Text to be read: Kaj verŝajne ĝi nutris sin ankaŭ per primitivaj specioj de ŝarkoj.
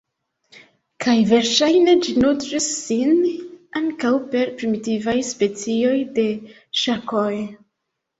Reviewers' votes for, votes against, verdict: 1, 2, rejected